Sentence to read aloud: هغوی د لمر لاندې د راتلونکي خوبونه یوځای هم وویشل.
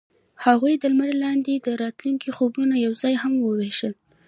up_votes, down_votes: 1, 2